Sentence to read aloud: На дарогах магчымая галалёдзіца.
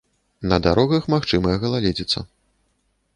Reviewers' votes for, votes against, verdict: 0, 2, rejected